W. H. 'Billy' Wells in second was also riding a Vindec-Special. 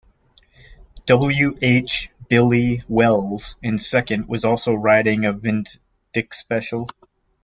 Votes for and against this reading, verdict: 0, 2, rejected